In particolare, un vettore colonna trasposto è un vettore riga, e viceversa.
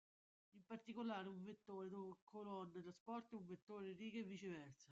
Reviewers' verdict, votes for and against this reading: rejected, 0, 2